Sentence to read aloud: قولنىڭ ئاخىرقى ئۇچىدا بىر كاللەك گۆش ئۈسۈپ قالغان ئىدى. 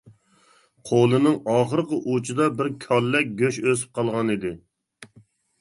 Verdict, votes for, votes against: rejected, 0, 2